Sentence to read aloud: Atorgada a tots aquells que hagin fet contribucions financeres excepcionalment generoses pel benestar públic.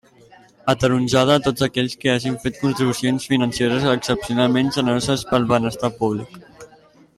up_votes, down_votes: 0, 2